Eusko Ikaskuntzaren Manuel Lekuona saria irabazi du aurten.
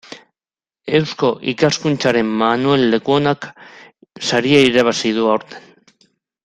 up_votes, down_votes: 0, 2